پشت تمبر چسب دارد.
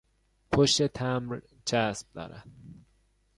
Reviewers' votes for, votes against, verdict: 2, 0, accepted